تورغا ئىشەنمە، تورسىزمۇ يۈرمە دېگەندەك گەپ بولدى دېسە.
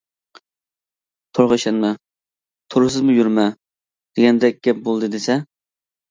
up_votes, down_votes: 2, 1